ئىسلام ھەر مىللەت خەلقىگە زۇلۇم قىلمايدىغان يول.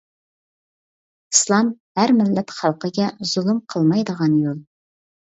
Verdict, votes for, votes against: accepted, 2, 0